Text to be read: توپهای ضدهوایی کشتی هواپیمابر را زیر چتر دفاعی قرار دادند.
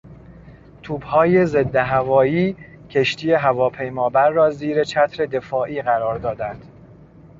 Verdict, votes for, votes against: accepted, 2, 0